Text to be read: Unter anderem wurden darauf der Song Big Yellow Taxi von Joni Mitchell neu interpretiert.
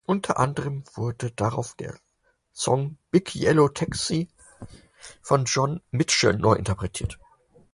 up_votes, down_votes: 4, 6